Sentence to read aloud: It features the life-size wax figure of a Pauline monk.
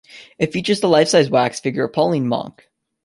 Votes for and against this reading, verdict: 2, 0, accepted